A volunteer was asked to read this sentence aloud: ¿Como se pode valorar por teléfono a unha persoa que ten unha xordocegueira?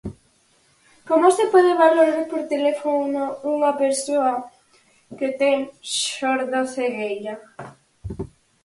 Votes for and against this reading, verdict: 0, 4, rejected